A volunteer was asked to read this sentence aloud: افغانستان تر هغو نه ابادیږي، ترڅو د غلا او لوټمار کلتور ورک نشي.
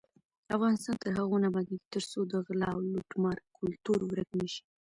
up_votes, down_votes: 1, 2